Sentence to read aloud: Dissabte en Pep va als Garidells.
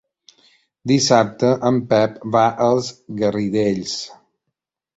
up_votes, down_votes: 2, 1